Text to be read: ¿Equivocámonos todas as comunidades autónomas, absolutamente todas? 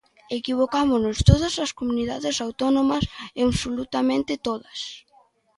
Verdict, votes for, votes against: rejected, 0, 2